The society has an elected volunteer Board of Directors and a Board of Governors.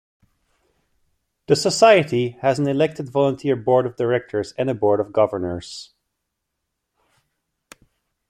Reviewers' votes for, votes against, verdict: 2, 0, accepted